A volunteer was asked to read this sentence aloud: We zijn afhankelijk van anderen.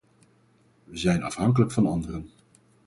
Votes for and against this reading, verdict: 4, 0, accepted